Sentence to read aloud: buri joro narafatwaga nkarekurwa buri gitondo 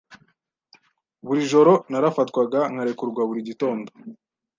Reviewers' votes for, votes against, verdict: 2, 0, accepted